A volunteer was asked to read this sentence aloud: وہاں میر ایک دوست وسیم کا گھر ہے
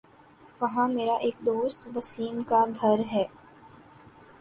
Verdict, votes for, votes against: accepted, 2, 0